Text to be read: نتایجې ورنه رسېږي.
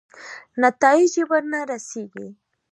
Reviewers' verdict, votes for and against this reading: rejected, 1, 2